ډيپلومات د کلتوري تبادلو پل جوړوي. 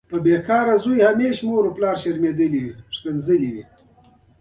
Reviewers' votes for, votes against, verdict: 1, 2, rejected